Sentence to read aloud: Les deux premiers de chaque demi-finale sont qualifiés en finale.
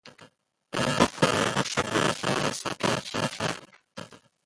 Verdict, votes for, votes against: rejected, 0, 2